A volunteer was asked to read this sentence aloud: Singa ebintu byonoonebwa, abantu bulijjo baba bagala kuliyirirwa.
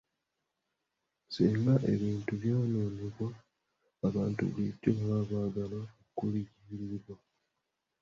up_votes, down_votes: 1, 2